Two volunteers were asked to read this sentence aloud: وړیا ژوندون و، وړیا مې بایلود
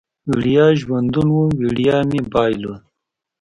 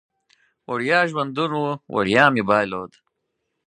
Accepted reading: second